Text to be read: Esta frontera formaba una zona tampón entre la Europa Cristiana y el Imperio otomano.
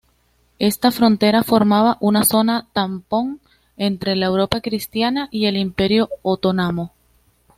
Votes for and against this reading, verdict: 2, 0, accepted